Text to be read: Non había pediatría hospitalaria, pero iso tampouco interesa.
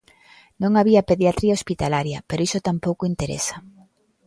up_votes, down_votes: 2, 0